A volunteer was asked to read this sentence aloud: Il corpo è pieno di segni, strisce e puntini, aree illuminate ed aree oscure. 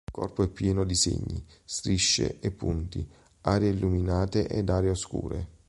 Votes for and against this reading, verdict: 0, 2, rejected